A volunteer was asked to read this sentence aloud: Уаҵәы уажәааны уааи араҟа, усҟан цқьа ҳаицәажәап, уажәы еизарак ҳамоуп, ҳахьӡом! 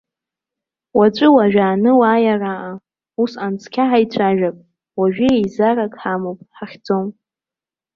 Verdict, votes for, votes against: accepted, 2, 0